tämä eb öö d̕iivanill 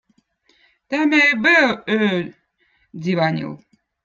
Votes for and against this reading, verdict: 1, 2, rejected